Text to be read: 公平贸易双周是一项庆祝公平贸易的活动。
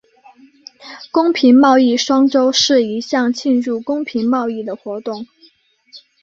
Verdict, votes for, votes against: accepted, 2, 1